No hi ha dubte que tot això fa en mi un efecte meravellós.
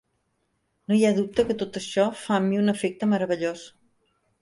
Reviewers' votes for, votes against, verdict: 3, 0, accepted